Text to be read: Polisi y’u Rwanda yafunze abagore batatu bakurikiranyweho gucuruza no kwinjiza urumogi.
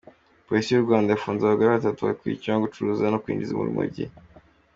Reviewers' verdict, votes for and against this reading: accepted, 2, 1